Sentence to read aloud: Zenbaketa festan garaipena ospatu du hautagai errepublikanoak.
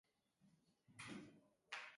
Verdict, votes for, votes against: rejected, 0, 2